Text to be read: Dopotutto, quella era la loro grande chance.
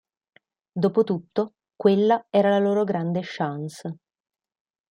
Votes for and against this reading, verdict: 2, 0, accepted